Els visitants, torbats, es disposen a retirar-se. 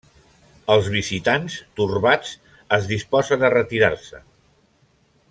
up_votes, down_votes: 3, 0